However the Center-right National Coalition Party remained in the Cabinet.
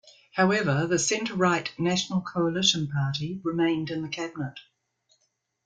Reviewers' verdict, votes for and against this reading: rejected, 1, 2